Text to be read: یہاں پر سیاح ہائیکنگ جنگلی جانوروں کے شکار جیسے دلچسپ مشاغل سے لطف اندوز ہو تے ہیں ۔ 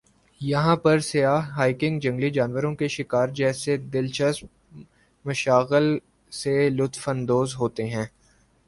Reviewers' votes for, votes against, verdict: 2, 0, accepted